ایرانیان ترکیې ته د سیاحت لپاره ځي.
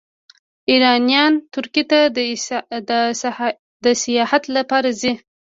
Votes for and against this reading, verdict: 1, 2, rejected